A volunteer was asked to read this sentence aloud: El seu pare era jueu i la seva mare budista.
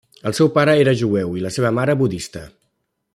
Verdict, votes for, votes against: accepted, 3, 0